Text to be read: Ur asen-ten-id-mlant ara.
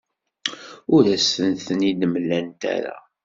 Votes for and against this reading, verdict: 2, 0, accepted